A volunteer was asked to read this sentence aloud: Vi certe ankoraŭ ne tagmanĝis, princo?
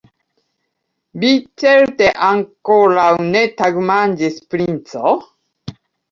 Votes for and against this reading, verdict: 1, 2, rejected